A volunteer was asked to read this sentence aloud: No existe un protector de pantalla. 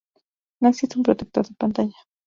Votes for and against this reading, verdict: 0, 2, rejected